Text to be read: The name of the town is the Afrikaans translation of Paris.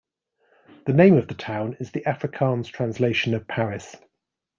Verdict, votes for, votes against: accepted, 2, 0